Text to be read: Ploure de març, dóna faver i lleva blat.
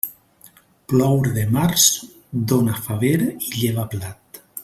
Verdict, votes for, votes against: accepted, 2, 0